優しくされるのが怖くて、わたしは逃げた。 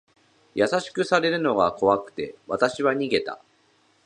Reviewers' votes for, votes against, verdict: 5, 2, accepted